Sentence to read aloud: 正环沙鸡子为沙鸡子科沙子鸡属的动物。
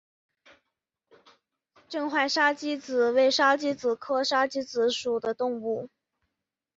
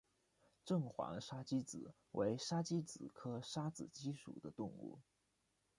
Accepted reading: first